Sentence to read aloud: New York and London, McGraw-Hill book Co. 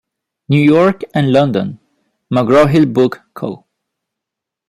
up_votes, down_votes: 1, 2